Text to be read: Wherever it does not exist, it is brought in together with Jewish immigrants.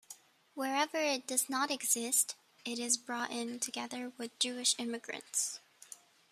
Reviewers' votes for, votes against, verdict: 0, 2, rejected